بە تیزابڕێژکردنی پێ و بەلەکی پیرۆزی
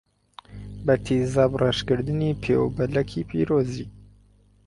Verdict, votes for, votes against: accepted, 4, 0